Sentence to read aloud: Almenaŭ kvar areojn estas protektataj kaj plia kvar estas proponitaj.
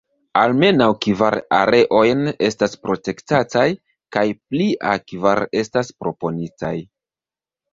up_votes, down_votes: 0, 2